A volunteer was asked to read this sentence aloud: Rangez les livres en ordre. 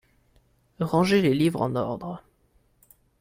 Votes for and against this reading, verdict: 2, 0, accepted